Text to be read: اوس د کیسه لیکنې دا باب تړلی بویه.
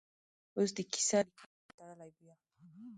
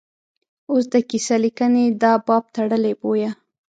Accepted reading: second